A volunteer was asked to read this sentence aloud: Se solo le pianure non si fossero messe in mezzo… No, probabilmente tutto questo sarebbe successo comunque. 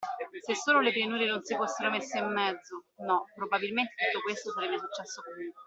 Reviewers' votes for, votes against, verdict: 2, 1, accepted